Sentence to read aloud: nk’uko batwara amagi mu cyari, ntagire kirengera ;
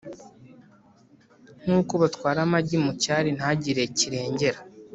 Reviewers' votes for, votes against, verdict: 2, 0, accepted